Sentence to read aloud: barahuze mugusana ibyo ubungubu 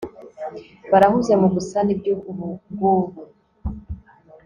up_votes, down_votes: 2, 0